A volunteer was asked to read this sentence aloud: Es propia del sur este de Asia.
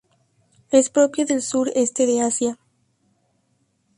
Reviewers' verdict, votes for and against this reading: accepted, 2, 0